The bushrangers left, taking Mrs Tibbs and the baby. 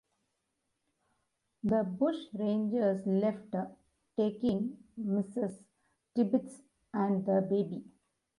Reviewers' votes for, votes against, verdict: 1, 2, rejected